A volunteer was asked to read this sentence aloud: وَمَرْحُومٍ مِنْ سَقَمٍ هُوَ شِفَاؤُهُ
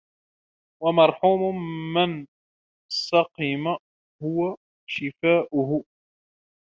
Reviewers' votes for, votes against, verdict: 0, 2, rejected